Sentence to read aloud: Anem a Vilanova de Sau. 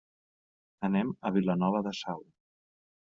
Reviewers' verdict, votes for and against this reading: accepted, 3, 0